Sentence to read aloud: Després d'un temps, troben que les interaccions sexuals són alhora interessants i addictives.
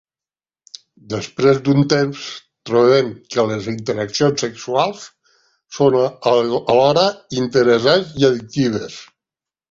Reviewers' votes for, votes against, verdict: 0, 2, rejected